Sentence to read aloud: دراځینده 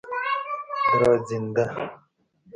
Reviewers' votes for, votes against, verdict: 3, 2, accepted